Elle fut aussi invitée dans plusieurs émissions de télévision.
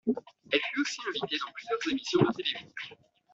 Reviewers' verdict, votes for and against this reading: rejected, 1, 2